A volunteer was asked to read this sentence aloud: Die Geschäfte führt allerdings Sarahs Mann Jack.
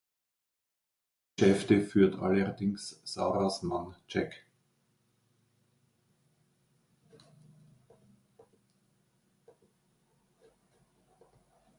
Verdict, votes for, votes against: rejected, 0, 2